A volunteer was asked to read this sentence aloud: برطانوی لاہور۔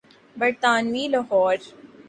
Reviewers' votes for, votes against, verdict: 2, 0, accepted